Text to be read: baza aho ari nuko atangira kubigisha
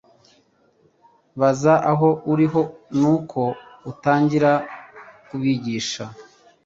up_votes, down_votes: 0, 2